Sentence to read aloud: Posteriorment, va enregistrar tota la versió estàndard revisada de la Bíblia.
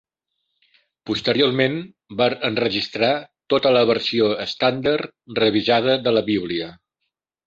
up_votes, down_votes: 3, 1